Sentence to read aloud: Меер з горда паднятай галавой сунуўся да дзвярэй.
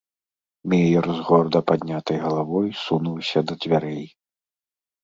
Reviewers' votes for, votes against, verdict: 2, 0, accepted